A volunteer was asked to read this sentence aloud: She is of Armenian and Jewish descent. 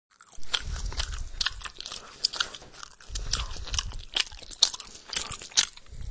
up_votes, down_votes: 0, 2